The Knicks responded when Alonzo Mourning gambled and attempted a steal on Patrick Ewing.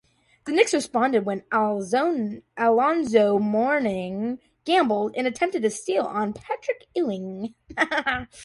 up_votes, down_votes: 0, 2